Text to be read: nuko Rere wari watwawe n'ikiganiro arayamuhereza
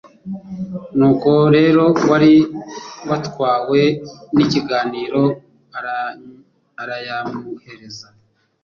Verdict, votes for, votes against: rejected, 1, 2